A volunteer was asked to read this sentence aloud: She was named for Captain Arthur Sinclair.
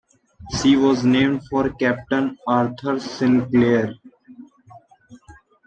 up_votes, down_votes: 2, 0